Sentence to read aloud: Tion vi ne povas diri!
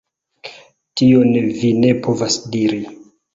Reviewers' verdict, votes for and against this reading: rejected, 0, 2